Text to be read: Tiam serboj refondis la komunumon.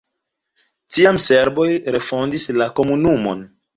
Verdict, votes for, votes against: accepted, 2, 0